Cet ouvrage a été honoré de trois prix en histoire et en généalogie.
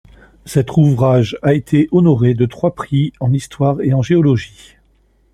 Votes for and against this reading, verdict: 1, 2, rejected